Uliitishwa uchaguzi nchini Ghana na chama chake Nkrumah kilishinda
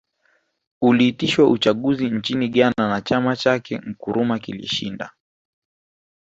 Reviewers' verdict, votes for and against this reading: rejected, 0, 2